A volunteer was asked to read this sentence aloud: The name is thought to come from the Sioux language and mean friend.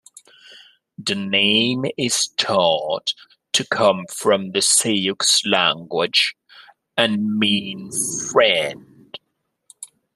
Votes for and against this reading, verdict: 1, 2, rejected